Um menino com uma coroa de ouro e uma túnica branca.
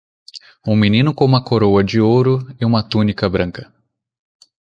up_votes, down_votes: 2, 0